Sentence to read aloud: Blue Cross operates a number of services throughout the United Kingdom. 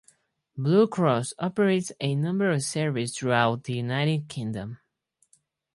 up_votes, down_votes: 2, 2